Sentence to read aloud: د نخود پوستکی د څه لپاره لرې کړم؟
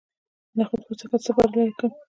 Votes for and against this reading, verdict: 1, 2, rejected